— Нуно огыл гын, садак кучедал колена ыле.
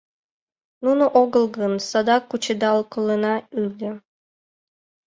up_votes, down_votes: 2, 0